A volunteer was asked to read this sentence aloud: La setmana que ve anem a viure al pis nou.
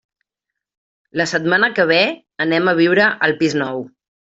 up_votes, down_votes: 3, 0